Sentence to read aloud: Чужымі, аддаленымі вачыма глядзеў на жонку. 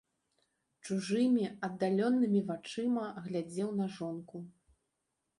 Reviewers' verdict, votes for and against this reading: rejected, 0, 2